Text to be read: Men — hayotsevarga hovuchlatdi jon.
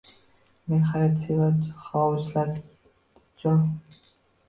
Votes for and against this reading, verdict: 0, 3, rejected